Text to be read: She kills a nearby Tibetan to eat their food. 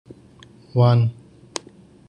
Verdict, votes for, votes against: rejected, 0, 2